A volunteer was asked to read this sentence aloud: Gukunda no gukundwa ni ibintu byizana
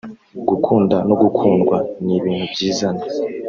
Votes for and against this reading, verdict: 1, 2, rejected